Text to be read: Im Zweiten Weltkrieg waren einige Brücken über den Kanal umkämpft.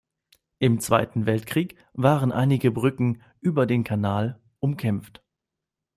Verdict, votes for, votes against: accepted, 2, 0